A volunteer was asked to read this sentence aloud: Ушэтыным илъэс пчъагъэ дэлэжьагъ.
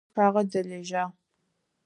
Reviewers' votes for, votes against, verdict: 0, 4, rejected